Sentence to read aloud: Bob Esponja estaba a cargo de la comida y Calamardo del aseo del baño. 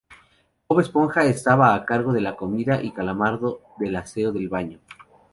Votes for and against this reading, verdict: 2, 0, accepted